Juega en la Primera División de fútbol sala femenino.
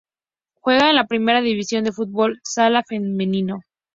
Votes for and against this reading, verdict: 2, 0, accepted